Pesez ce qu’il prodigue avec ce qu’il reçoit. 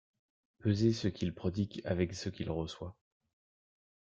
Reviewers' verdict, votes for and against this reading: accepted, 2, 0